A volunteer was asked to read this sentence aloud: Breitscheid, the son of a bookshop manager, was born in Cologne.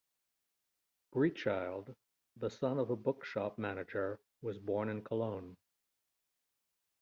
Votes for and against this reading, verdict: 1, 2, rejected